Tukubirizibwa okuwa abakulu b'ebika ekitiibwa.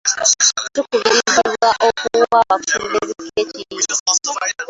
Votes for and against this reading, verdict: 0, 3, rejected